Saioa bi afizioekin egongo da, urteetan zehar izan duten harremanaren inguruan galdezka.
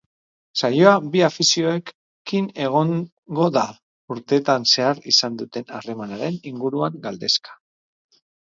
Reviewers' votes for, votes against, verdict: 6, 8, rejected